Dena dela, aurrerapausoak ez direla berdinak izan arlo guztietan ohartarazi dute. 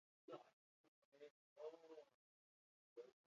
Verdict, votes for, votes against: rejected, 0, 2